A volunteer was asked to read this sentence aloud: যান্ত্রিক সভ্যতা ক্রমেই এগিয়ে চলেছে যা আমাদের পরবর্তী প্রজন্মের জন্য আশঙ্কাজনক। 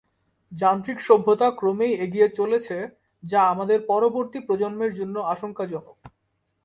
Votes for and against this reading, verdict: 8, 0, accepted